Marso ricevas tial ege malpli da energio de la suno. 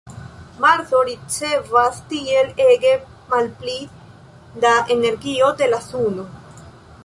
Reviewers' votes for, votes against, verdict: 1, 2, rejected